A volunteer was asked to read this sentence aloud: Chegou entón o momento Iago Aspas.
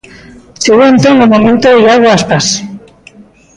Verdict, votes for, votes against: accepted, 2, 0